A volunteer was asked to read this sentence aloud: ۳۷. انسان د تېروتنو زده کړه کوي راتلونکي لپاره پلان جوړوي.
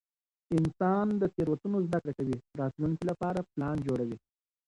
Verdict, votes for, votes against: rejected, 0, 2